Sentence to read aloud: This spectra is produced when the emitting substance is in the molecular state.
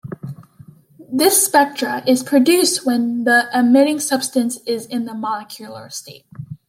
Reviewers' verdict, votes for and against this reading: accepted, 2, 0